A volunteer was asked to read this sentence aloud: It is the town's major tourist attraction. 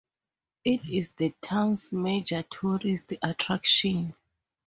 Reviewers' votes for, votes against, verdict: 2, 0, accepted